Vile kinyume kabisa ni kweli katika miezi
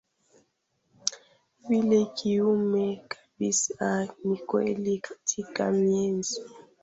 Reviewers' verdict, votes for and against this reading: rejected, 1, 2